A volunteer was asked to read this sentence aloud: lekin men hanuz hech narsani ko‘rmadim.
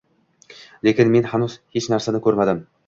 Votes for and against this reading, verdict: 0, 2, rejected